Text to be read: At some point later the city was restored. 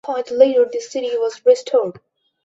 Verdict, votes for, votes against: accepted, 2, 1